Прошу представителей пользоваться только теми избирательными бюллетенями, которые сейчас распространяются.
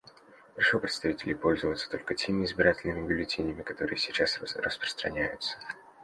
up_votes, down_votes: 0, 2